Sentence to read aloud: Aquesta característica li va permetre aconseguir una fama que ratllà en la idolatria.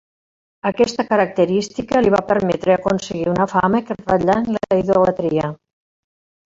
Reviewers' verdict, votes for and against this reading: rejected, 0, 2